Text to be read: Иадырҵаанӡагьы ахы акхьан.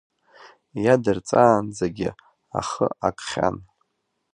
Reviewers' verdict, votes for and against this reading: accepted, 3, 0